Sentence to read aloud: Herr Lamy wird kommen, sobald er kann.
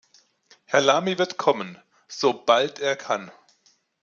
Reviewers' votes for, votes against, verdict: 2, 0, accepted